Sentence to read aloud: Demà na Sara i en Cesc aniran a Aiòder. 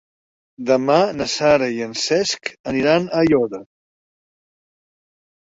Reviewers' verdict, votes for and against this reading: accepted, 2, 0